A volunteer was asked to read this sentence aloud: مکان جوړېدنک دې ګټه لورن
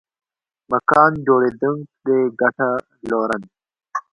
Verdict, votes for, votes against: accepted, 3, 1